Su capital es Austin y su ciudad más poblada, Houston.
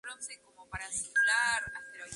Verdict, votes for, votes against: rejected, 0, 2